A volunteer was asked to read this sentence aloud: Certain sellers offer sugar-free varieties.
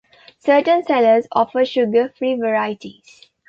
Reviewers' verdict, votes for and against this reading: accepted, 2, 0